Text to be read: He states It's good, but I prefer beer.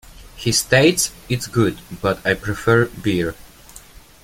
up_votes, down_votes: 2, 0